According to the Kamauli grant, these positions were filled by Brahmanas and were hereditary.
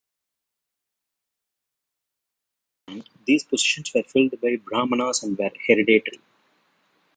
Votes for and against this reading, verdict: 0, 3, rejected